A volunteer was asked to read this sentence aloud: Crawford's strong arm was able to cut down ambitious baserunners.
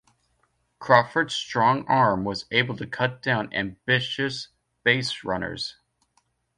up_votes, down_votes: 2, 0